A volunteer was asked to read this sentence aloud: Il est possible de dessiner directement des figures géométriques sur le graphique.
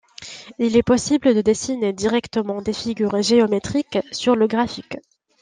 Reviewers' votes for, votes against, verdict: 2, 0, accepted